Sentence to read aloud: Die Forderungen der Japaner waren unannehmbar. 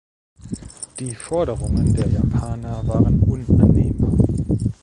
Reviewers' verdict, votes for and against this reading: accepted, 2, 0